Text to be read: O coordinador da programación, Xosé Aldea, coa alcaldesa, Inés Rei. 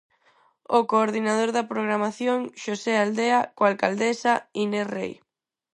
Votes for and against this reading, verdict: 4, 0, accepted